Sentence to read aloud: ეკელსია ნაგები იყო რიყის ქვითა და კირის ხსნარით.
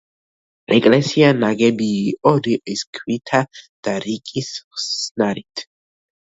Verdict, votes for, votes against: rejected, 0, 2